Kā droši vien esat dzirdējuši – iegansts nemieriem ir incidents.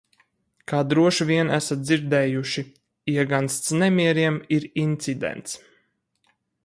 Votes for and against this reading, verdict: 4, 0, accepted